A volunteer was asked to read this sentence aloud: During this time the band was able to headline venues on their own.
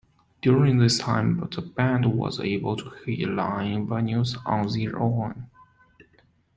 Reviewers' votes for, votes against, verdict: 2, 1, accepted